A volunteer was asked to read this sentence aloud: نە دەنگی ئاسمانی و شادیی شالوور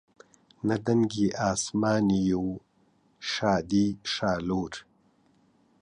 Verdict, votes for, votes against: accepted, 2, 0